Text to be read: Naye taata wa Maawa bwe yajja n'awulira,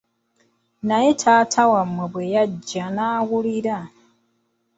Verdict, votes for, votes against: rejected, 0, 2